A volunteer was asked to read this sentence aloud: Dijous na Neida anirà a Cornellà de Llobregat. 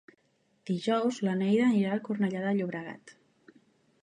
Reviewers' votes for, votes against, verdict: 1, 2, rejected